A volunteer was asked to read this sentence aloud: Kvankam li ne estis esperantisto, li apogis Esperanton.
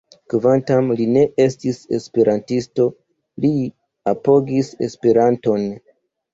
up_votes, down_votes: 2, 1